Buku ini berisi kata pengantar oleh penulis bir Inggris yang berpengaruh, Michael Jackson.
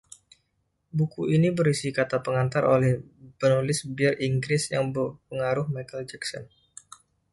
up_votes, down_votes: 1, 2